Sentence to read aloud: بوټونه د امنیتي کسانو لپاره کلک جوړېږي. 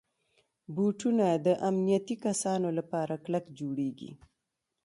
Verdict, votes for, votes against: rejected, 1, 2